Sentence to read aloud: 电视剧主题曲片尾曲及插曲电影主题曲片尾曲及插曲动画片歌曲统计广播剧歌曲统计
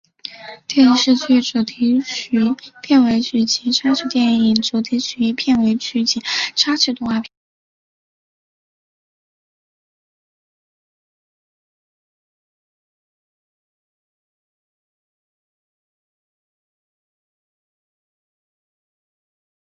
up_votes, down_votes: 0, 3